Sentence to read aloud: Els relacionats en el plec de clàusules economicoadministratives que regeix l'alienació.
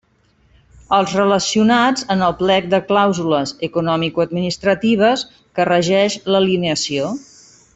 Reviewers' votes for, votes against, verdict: 1, 2, rejected